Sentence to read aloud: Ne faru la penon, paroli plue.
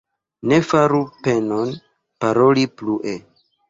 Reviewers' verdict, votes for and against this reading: accepted, 2, 0